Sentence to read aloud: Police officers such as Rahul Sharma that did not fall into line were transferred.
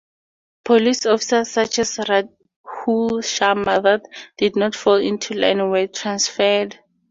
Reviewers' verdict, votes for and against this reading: rejected, 2, 2